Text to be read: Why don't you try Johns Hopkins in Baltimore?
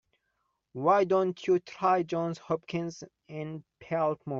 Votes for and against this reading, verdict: 1, 2, rejected